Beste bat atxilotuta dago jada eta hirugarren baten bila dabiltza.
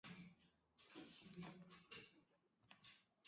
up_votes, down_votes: 0, 2